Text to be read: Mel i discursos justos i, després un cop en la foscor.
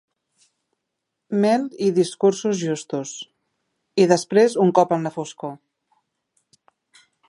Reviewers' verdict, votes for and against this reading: accepted, 2, 0